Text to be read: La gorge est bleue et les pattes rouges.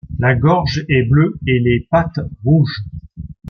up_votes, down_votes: 2, 0